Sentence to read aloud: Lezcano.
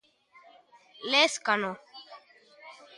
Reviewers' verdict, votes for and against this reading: rejected, 1, 2